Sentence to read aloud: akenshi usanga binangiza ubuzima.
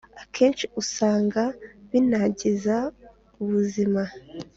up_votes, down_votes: 4, 0